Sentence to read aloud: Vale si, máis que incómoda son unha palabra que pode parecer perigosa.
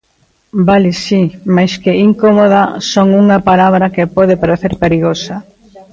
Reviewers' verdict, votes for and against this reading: rejected, 1, 2